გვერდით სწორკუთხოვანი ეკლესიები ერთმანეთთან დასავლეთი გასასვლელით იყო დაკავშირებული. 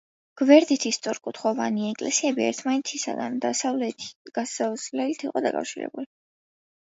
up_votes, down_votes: 0, 2